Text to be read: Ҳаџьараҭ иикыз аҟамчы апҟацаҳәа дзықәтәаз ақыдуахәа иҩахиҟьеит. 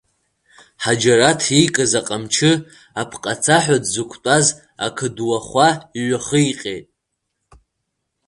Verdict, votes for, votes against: rejected, 1, 2